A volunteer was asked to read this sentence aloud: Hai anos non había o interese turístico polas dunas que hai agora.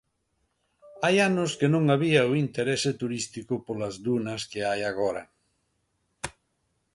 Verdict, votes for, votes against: rejected, 0, 2